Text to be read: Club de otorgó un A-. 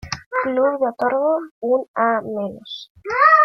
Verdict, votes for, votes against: rejected, 0, 2